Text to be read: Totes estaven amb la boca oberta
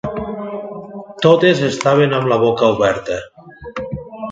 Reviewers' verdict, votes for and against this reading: accepted, 2, 0